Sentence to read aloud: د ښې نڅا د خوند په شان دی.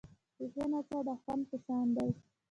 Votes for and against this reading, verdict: 1, 2, rejected